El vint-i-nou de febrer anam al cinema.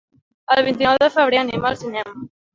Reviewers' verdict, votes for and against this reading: rejected, 1, 2